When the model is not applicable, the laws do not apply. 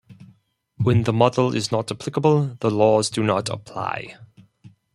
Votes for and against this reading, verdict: 4, 0, accepted